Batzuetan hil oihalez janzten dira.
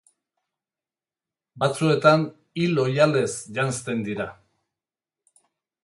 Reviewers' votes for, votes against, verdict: 6, 0, accepted